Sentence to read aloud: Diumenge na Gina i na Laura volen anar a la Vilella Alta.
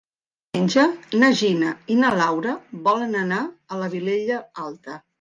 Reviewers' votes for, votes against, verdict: 1, 2, rejected